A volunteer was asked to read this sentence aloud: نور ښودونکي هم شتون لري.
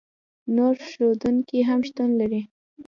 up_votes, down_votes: 2, 0